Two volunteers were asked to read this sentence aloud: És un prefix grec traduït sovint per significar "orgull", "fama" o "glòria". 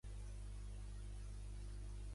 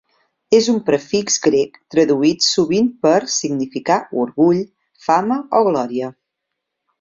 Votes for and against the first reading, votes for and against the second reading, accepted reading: 1, 2, 3, 0, second